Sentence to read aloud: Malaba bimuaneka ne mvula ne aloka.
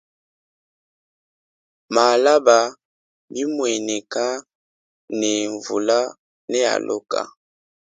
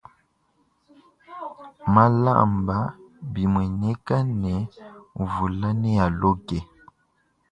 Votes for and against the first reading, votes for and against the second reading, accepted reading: 2, 0, 1, 2, first